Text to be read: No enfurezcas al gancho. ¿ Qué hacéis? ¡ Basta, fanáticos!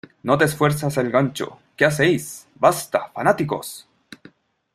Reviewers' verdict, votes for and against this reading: rejected, 0, 2